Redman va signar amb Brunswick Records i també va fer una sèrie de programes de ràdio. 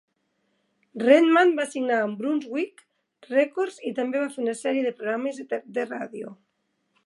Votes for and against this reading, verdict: 1, 2, rejected